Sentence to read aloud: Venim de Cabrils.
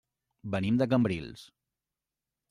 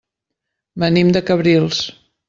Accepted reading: second